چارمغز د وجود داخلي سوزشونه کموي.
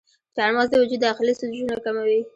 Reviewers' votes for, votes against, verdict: 2, 0, accepted